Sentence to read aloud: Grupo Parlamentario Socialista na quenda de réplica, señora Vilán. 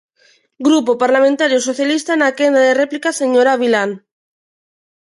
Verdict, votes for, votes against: accepted, 2, 0